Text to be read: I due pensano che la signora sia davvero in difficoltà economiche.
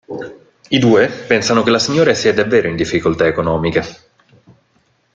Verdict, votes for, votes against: rejected, 0, 2